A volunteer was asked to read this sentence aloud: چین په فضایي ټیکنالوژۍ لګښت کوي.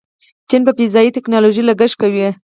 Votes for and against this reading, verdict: 0, 4, rejected